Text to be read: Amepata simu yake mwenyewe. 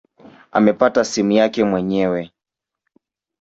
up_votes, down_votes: 2, 0